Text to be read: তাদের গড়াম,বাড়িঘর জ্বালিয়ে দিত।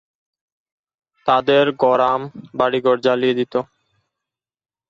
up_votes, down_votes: 3, 0